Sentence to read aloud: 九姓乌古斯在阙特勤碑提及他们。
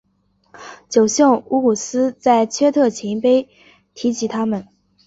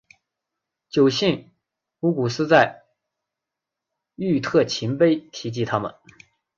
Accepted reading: first